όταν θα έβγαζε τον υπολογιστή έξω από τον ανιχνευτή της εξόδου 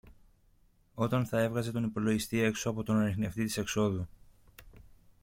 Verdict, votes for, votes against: accepted, 2, 0